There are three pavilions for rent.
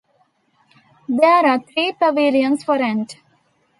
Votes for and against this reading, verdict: 2, 1, accepted